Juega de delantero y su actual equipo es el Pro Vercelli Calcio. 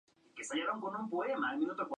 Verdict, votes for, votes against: rejected, 2, 4